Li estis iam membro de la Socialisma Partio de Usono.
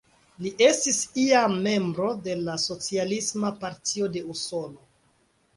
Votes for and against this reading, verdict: 2, 0, accepted